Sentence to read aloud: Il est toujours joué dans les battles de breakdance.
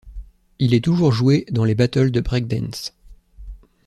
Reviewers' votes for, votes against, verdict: 2, 0, accepted